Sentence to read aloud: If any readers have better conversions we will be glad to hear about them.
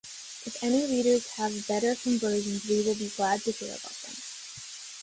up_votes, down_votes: 0, 2